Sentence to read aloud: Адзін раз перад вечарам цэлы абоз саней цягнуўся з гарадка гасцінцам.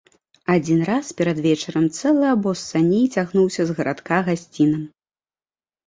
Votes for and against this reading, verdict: 1, 2, rejected